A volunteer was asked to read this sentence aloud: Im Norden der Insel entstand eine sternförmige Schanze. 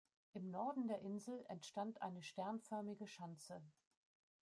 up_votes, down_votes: 0, 2